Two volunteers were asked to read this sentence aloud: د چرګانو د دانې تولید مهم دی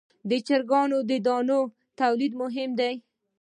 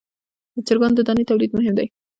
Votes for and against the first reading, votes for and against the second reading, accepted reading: 2, 0, 1, 2, first